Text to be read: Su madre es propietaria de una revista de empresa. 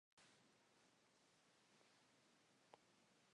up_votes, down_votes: 0, 2